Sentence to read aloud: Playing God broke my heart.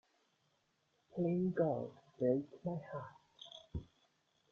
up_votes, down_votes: 1, 2